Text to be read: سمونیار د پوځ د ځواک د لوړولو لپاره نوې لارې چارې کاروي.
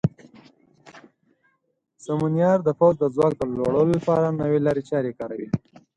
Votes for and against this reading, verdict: 10, 0, accepted